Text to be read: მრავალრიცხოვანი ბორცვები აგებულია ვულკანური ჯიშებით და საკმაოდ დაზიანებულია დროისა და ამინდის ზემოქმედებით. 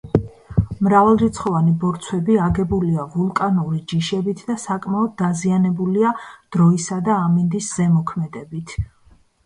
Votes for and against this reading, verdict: 3, 0, accepted